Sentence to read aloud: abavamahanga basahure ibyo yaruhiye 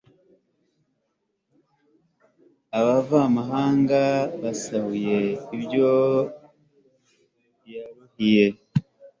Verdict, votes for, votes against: rejected, 1, 2